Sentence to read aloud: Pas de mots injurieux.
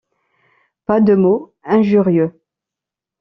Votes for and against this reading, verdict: 2, 0, accepted